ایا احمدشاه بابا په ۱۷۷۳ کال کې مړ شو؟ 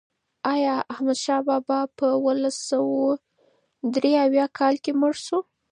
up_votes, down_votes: 0, 2